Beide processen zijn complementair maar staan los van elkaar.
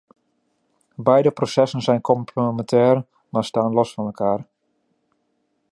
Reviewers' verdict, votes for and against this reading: rejected, 1, 2